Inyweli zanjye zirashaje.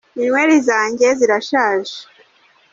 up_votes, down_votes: 2, 0